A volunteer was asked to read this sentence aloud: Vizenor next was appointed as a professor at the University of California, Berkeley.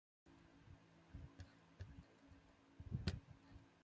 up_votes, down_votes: 0, 2